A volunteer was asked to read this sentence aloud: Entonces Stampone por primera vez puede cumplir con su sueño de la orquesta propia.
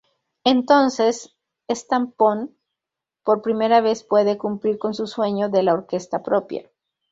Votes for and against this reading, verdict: 0, 2, rejected